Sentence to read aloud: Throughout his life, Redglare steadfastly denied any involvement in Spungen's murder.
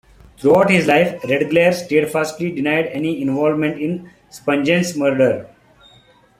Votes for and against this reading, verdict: 1, 2, rejected